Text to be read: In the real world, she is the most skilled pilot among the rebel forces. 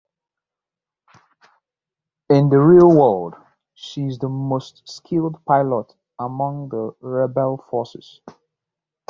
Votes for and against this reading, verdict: 0, 2, rejected